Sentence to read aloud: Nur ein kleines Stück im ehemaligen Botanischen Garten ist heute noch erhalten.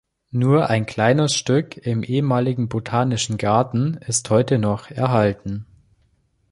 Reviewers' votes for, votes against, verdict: 3, 0, accepted